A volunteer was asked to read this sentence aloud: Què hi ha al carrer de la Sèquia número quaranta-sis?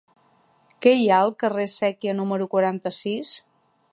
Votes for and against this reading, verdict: 1, 2, rejected